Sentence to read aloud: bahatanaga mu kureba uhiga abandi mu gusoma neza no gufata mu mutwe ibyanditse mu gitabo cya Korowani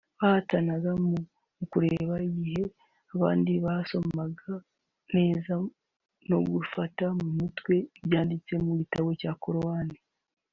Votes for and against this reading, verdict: 1, 2, rejected